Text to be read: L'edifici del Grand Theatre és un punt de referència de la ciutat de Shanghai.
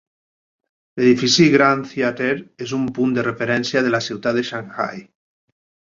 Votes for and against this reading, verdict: 1, 3, rejected